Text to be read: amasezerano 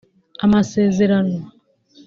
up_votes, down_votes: 2, 0